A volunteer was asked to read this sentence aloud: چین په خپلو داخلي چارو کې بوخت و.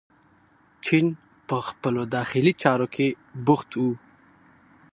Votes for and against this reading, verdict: 2, 0, accepted